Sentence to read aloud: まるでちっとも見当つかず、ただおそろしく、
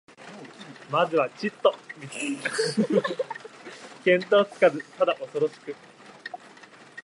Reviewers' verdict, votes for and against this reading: rejected, 1, 2